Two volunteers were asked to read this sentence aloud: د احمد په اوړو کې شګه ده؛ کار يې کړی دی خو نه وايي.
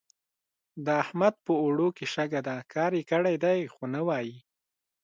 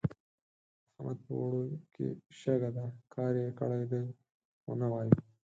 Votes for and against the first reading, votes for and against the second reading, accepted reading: 2, 0, 2, 4, first